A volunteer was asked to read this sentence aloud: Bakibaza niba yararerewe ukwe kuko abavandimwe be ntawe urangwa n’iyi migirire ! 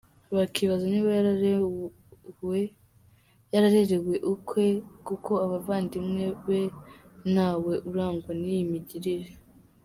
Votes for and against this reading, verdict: 0, 2, rejected